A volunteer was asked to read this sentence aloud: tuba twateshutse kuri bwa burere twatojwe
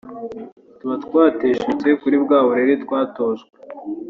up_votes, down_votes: 2, 0